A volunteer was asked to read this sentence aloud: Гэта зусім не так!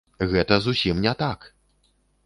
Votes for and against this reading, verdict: 2, 0, accepted